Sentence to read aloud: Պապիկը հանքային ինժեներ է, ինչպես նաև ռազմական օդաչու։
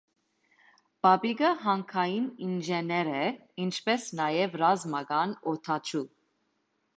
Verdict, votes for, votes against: accepted, 2, 0